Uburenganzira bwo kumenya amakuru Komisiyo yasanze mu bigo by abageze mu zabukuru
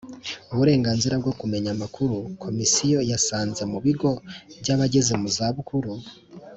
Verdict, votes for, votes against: accepted, 2, 0